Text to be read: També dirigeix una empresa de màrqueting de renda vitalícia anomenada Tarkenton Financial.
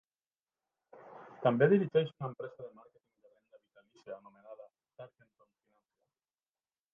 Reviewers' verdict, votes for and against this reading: rejected, 0, 2